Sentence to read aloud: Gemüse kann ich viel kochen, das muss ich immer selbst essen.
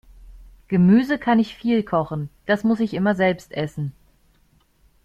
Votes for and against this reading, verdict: 2, 0, accepted